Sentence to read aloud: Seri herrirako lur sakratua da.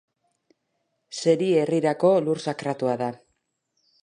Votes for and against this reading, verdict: 2, 0, accepted